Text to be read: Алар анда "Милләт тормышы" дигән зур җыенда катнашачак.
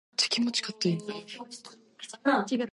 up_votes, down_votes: 0, 2